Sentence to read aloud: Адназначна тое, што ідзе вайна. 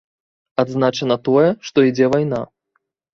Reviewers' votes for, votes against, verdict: 1, 2, rejected